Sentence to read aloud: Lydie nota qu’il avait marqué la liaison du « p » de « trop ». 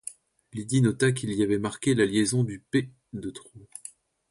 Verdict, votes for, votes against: rejected, 1, 2